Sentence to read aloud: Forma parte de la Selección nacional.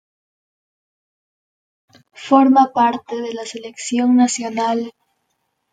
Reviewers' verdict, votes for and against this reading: accepted, 2, 0